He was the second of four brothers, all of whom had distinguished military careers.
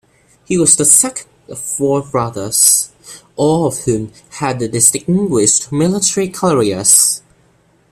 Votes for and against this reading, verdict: 2, 0, accepted